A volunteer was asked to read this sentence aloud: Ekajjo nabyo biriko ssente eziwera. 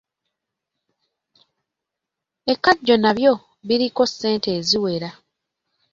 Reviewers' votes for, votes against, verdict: 2, 0, accepted